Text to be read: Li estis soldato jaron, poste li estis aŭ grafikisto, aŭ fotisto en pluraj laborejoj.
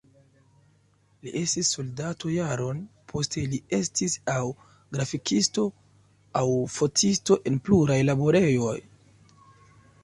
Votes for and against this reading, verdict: 2, 0, accepted